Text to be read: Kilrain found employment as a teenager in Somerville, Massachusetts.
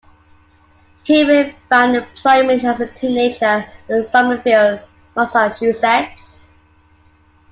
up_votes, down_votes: 0, 2